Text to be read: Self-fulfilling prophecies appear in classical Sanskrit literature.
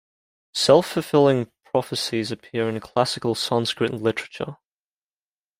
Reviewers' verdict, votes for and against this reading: accepted, 2, 0